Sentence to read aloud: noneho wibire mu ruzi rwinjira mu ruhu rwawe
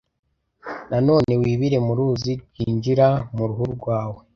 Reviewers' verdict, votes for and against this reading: rejected, 1, 2